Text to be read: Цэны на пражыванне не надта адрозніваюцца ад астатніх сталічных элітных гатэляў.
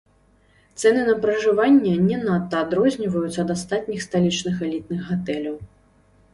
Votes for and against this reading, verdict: 0, 2, rejected